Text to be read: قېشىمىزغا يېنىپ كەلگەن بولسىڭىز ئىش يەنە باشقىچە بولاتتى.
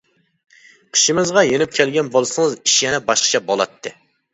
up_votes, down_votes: 1, 2